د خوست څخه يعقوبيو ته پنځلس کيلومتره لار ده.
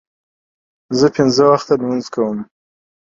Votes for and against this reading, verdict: 0, 2, rejected